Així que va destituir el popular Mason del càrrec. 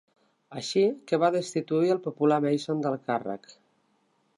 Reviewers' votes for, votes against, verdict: 2, 0, accepted